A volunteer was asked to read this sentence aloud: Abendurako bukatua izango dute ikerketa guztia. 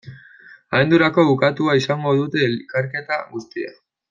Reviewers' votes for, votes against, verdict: 1, 2, rejected